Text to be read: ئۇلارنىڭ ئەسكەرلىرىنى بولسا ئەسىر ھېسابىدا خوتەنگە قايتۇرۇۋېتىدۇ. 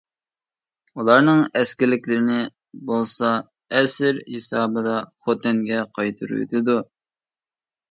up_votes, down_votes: 0, 2